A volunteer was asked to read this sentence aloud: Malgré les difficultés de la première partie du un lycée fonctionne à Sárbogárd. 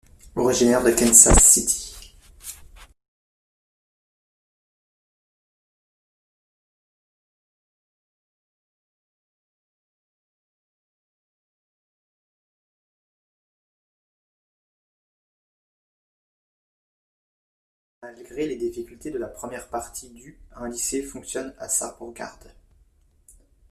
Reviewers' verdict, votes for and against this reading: rejected, 0, 2